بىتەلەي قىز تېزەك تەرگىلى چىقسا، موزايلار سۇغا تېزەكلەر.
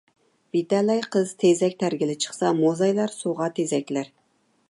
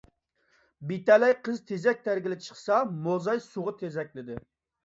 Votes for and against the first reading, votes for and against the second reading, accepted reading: 2, 0, 0, 2, first